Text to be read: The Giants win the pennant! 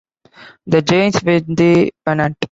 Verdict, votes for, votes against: rejected, 1, 2